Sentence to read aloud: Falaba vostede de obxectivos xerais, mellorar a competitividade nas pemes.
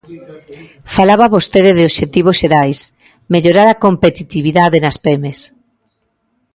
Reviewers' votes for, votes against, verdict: 2, 0, accepted